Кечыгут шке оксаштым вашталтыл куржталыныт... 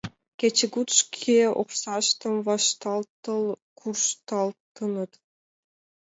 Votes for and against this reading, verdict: 0, 2, rejected